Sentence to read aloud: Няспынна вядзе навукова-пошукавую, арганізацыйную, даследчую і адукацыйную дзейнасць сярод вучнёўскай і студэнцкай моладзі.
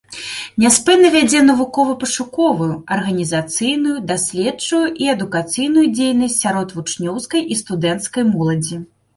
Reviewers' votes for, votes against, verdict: 2, 1, accepted